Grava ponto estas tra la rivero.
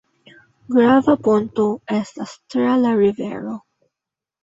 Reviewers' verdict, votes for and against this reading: accepted, 2, 1